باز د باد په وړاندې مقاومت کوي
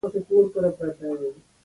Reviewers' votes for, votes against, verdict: 0, 2, rejected